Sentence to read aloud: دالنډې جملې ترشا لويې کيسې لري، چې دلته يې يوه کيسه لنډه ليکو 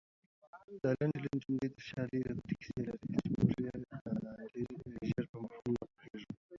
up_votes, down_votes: 2, 1